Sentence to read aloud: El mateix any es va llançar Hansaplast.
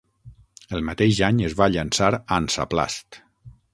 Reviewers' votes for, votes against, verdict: 12, 0, accepted